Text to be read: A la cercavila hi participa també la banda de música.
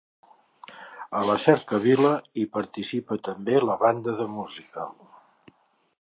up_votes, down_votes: 2, 0